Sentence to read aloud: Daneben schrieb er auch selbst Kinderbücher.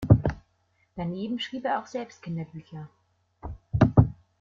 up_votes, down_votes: 2, 0